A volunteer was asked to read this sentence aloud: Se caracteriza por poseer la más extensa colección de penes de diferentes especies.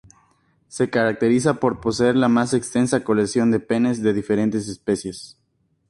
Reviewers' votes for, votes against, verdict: 2, 0, accepted